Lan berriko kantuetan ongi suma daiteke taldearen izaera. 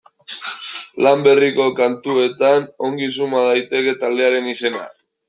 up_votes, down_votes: 1, 2